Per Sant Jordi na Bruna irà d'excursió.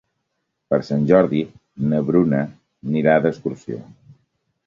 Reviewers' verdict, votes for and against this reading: rejected, 1, 2